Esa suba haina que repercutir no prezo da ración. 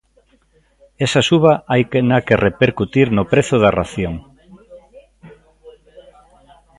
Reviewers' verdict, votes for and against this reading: rejected, 0, 2